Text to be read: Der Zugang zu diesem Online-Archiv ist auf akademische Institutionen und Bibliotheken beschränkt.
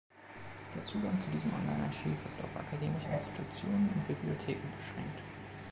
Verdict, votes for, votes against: accepted, 2, 1